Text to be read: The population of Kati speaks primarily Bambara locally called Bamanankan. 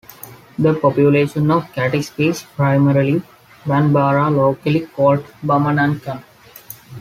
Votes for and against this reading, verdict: 2, 0, accepted